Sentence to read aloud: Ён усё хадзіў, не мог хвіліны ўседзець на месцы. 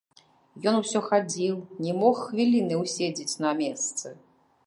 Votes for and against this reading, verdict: 0, 2, rejected